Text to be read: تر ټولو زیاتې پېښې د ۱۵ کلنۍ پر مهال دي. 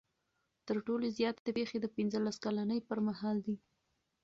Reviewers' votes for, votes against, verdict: 0, 2, rejected